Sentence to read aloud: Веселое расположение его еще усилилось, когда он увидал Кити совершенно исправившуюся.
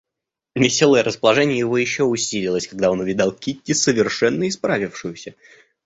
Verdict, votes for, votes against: accepted, 2, 0